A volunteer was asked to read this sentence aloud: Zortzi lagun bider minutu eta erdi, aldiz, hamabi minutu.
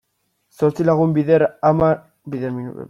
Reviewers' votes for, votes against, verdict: 0, 2, rejected